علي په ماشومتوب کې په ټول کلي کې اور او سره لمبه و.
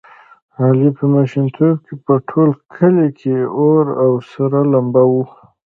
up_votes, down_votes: 1, 2